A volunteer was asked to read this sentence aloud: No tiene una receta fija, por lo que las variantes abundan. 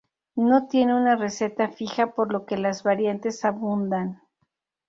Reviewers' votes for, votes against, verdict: 2, 0, accepted